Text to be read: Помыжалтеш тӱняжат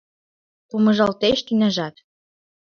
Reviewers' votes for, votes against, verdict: 2, 0, accepted